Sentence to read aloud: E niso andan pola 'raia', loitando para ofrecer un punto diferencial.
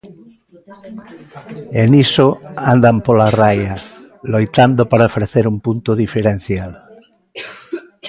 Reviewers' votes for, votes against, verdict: 2, 0, accepted